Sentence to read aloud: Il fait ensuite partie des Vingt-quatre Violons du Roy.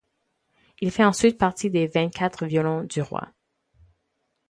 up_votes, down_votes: 4, 0